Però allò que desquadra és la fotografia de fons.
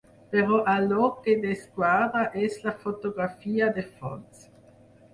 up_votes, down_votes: 0, 4